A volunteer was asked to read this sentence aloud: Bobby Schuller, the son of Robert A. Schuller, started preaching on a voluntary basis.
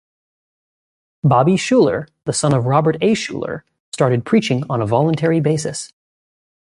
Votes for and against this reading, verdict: 2, 0, accepted